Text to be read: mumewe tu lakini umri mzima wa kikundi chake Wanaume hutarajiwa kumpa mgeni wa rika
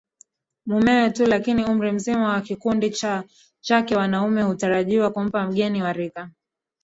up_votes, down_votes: 0, 2